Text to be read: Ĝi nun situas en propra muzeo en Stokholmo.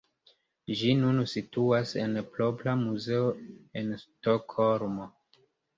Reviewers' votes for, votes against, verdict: 2, 0, accepted